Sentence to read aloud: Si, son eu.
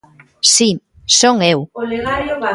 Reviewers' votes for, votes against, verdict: 0, 2, rejected